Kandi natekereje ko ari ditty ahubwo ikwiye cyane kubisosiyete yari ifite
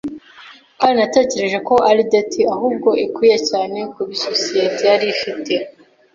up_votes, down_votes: 2, 1